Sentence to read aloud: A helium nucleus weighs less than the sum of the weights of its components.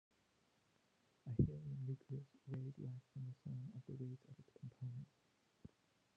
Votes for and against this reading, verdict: 0, 2, rejected